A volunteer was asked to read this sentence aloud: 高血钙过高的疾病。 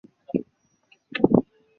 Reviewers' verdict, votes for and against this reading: rejected, 0, 3